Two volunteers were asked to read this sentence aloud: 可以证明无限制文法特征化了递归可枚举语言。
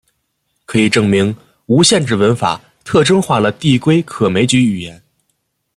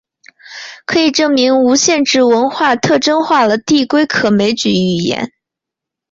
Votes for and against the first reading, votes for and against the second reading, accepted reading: 2, 0, 1, 3, first